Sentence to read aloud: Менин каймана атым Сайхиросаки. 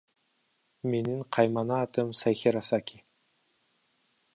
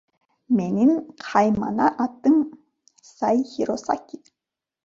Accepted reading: second